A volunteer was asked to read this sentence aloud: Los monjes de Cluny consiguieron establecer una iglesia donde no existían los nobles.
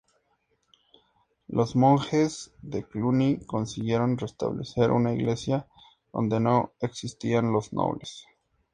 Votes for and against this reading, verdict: 2, 2, rejected